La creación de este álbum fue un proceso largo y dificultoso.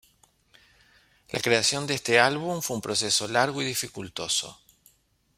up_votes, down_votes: 2, 0